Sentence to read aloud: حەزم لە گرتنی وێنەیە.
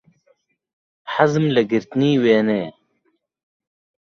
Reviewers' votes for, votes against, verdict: 2, 1, accepted